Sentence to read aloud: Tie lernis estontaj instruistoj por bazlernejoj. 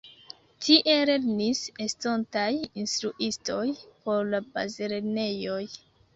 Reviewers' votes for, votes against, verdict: 0, 2, rejected